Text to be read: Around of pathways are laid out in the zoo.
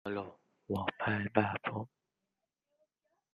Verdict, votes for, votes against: rejected, 0, 2